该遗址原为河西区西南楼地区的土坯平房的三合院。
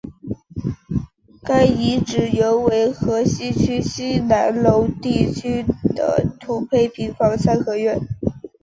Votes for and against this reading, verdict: 3, 0, accepted